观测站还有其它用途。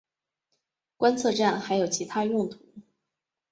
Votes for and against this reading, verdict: 2, 1, accepted